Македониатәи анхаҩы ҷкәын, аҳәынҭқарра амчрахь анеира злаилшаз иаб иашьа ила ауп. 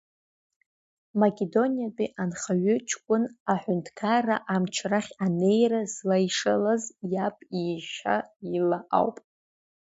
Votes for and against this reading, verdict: 0, 2, rejected